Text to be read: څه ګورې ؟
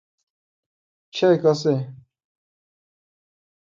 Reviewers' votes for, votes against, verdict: 2, 0, accepted